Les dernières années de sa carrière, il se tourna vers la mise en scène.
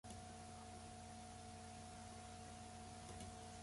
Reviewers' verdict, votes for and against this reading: rejected, 0, 2